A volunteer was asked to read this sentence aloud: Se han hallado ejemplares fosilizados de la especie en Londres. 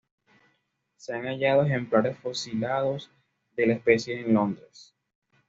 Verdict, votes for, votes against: accepted, 2, 0